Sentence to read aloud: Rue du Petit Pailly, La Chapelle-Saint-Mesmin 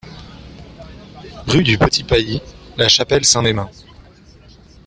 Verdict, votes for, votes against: accepted, 2, 0